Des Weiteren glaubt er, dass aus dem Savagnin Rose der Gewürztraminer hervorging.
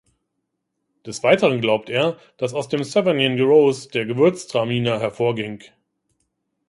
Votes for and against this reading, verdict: 1, 2, rejected